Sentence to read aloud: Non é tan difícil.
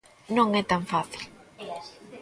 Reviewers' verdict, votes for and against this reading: rejected, 0, 2